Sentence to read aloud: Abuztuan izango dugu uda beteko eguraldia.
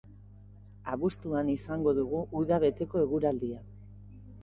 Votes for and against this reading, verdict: 3, 0, accepted